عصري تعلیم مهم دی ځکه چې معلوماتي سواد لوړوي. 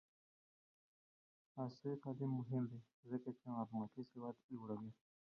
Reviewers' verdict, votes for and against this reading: accepted, 2, 0